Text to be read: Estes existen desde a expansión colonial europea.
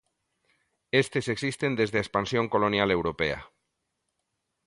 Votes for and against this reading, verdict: 2, 1, accepted